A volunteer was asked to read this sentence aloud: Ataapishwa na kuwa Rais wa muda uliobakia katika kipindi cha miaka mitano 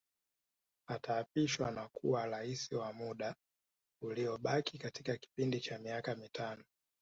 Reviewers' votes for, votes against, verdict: 2, 0, accepted